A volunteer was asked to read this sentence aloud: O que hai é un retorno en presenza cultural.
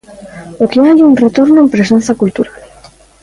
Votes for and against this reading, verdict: 0, 2, rejected